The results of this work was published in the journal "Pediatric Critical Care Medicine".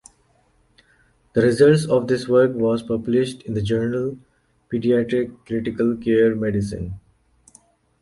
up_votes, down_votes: 2, 0